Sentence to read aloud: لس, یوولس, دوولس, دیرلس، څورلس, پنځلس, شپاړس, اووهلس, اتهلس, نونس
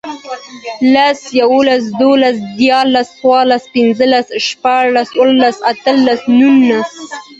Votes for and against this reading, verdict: 2, 0, accepted